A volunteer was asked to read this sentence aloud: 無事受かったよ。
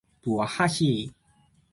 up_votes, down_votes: 1, 3